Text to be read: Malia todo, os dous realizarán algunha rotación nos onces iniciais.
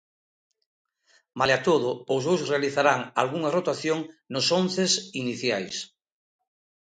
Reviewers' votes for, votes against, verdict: 2, 0, accepted